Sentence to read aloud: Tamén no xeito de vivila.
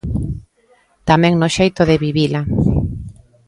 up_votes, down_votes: 2, 0